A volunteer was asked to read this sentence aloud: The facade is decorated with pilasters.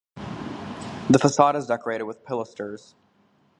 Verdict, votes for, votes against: rejected, 0, 2